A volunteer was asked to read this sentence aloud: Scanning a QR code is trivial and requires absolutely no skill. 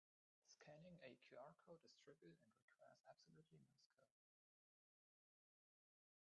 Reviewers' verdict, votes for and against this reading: rejected, 0, 2